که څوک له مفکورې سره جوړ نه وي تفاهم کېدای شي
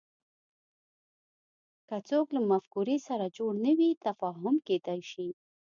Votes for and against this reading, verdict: 2, 1, accepted